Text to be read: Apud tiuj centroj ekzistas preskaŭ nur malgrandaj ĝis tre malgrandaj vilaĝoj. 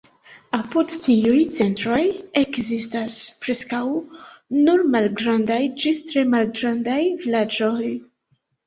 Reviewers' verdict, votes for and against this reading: accepted, 2, 1